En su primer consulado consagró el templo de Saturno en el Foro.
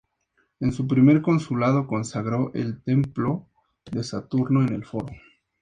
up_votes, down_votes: 2, 0